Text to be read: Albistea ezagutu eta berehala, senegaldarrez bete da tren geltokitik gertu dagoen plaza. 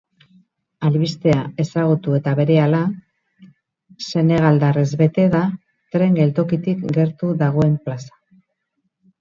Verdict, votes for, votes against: rejected, 0, 2